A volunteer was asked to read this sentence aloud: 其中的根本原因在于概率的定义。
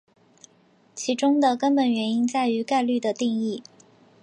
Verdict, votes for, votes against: accepted, 2, 0